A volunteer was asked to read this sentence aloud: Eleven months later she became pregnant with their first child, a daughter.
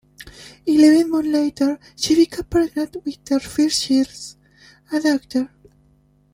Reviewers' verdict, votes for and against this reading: rejected, 0, 2